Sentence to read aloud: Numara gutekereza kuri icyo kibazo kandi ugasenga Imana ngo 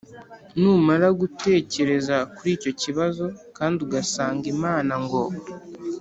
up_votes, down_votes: 0, 2